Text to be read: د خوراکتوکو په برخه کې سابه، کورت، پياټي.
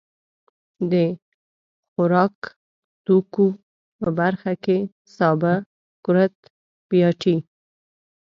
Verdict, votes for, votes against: rejected, 1, 2